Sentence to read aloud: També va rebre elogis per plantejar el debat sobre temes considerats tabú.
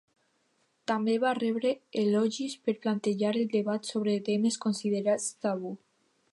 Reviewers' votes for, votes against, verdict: 2, 0, accepted